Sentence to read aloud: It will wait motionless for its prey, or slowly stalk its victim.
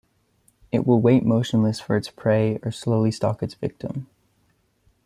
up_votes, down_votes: 2, 1